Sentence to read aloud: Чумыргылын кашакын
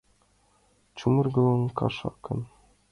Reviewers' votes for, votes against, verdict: 2, 1, accepted